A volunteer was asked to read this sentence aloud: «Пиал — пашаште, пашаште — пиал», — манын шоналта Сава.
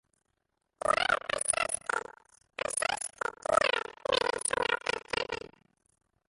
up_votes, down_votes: 0, 2